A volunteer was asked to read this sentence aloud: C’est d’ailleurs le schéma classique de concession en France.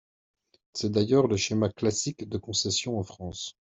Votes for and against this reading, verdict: 2, 0, accepted